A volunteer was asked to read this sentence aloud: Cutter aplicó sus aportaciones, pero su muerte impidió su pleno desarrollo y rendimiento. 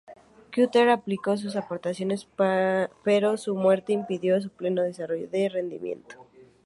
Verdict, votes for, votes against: rejected, 0, 2